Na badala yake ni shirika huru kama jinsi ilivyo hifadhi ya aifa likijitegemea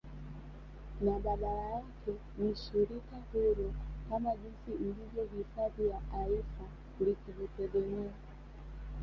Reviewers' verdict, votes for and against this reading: rejected, 1, 2